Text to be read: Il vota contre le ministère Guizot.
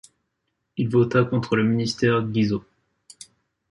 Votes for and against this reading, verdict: 2, 0, accepted